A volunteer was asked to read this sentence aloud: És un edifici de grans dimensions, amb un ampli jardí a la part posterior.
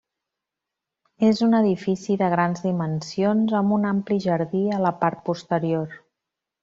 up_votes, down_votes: 3, 0